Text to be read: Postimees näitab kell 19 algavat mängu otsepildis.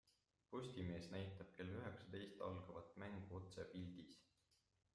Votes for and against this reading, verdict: 0, 2, rejected